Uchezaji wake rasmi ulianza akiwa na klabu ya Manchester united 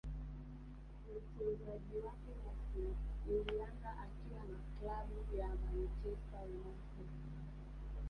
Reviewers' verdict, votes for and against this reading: rejected, 1, 2